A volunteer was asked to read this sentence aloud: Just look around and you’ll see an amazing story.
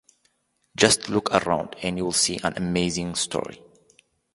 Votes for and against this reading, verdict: 2, 0, accepted